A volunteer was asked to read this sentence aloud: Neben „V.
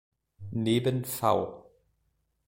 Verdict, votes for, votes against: accepted, 2, 0